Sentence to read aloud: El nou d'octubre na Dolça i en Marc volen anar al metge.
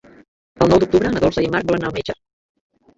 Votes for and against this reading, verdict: 0, 2, rejected